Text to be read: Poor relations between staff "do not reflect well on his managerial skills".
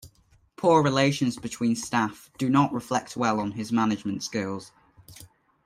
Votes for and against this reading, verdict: 0, 2, rejected